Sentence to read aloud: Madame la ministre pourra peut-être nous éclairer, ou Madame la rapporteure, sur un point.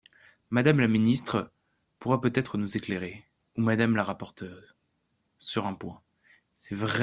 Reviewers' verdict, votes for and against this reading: rejected, 0, 2